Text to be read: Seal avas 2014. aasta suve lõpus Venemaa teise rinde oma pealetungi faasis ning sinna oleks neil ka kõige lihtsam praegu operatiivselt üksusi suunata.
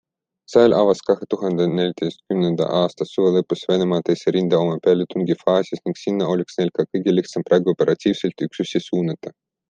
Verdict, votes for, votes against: rejected, 0, 2